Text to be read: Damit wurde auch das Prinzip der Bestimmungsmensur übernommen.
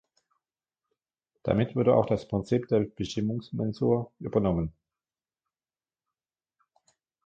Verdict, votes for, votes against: accepted, 2, 1